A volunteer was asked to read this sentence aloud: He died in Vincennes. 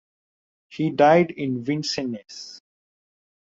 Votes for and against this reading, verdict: 2, 1, accepted